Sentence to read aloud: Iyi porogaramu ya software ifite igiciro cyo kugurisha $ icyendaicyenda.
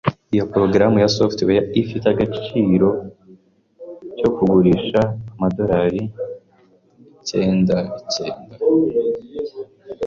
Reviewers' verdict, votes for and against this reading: rejected, 1, 2